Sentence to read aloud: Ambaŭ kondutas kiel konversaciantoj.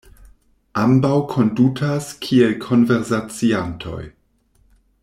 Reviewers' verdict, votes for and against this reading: rejected, 1, 2